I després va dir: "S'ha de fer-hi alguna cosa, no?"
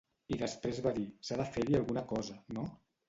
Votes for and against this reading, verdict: 1, 2, rejected